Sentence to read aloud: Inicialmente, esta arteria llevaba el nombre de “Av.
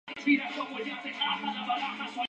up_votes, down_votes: 0, 2